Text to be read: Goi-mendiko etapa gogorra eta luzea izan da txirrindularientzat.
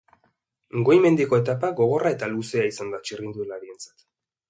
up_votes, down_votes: 2, 0